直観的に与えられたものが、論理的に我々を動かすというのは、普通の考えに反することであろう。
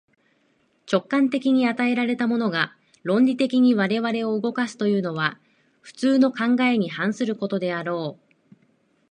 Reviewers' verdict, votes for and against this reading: accepted, 2, 0